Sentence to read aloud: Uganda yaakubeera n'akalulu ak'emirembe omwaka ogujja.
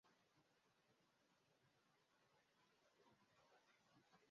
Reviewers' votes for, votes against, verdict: 0, 3, rejected